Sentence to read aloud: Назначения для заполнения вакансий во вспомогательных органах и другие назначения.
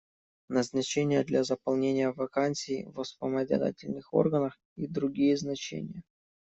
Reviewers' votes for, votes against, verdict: 0, 2, rejected